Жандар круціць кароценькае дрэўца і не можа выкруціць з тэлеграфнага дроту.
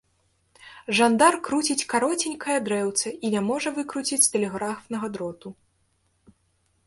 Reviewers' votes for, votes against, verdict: 2, 0, accepted